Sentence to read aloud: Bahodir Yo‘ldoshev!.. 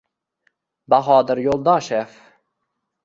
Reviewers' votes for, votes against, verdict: 2, 0, accepted